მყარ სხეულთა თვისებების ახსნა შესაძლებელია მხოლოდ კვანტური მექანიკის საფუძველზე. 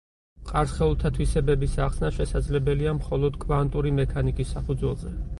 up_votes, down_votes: 4, 0